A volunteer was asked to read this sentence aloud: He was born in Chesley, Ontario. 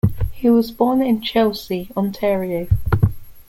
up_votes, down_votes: 0, 2